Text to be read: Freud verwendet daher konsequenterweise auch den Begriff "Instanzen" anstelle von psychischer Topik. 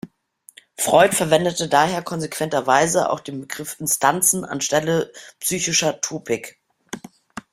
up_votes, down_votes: 1, 2